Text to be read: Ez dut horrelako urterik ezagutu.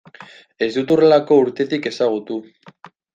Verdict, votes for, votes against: rejected, 1, 2